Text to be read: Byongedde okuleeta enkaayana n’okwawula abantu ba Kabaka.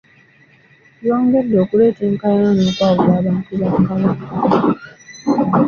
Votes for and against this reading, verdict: 2, 0, accepted